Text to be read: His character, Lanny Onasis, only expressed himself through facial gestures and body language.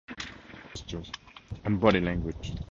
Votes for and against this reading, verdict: 0, 2, rejected